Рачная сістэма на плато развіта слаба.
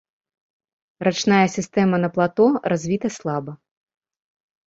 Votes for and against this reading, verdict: 2, 0, accepted